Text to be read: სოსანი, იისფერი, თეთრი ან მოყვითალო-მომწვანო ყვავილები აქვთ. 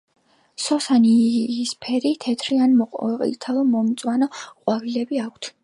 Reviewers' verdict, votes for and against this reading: accepted, 3, 0